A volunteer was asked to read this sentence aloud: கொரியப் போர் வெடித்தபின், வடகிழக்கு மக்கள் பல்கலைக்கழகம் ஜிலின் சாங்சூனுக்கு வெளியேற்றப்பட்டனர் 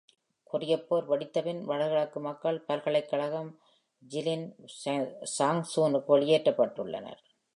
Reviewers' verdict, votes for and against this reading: rejected, 1, 2